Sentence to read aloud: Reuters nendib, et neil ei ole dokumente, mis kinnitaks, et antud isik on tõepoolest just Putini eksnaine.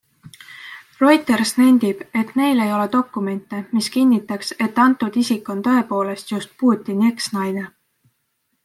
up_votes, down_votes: 2, 0